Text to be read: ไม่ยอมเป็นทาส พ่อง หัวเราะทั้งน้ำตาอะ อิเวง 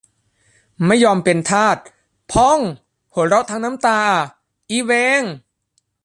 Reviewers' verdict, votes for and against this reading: rejected, 0, 2